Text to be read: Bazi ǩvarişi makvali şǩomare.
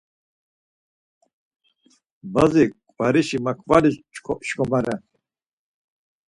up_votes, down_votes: 4, 0